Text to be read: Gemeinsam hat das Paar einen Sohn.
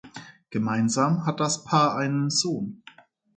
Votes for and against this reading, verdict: 2, 0, accepted